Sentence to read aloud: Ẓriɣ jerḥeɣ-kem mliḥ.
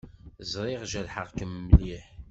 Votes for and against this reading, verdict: 2, 0, accepted